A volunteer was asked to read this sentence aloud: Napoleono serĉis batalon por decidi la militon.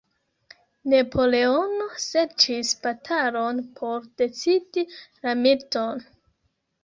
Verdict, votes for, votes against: rejected, 0, 2